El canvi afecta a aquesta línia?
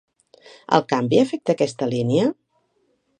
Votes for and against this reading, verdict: 2, 0, accepted